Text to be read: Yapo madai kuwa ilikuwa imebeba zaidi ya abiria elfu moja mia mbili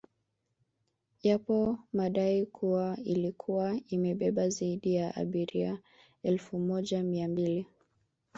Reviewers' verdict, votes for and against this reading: accepted, 2, 1